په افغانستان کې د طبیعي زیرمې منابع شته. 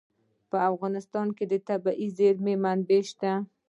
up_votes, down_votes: 2, 0